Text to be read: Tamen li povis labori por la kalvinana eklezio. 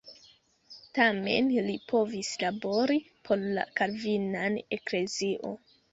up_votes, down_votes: 0, 2